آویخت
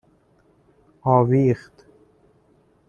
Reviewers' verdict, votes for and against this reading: rejected, 1, 2